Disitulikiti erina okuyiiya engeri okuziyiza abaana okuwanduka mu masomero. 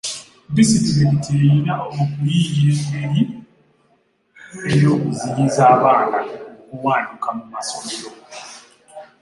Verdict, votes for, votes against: rejected, 1, 2